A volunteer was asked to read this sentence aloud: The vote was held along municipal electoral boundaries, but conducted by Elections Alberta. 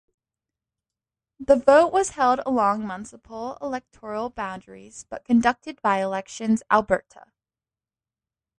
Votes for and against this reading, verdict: 1, 2, rejected